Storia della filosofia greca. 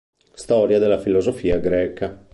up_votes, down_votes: 2, 0